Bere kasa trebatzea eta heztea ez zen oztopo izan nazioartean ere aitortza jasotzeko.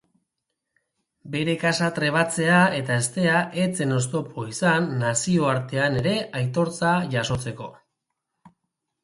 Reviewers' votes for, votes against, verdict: 3, 0, accepted